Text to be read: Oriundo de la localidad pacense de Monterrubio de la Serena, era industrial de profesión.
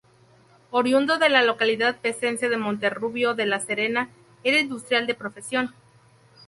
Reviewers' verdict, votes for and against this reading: rejected, 0, 2